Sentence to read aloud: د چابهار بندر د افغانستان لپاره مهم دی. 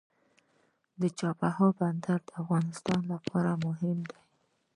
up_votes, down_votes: 0, 2